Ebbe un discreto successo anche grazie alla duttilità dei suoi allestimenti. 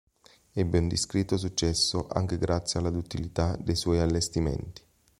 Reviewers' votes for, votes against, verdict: 2, 0, accepted